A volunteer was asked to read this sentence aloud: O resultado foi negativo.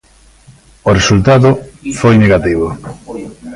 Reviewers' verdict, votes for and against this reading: rejected, 1, 2